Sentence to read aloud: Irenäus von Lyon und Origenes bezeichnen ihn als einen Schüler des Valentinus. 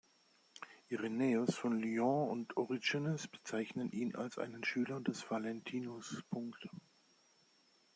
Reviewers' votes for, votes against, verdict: 0, 2, rejected